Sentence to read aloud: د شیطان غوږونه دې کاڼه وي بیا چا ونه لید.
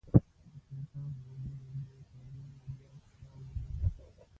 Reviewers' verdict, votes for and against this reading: rejected, 0, 2